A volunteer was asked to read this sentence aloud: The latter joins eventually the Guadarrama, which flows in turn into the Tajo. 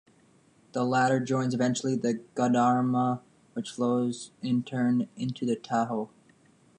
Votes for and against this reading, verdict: 0, 2, rejected